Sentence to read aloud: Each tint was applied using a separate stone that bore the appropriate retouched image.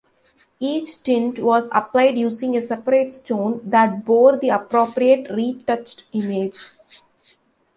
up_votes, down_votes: 2, 0